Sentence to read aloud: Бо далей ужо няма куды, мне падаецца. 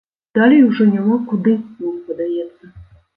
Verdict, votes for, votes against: rejected, 0, 2